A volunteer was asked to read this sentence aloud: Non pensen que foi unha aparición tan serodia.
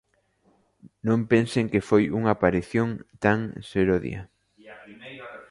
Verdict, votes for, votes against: accepted, 2, 1